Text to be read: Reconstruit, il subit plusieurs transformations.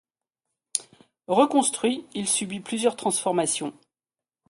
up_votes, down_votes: 2, 0